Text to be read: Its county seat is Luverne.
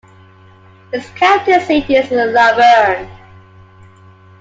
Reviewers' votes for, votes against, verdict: 2, 1, accepted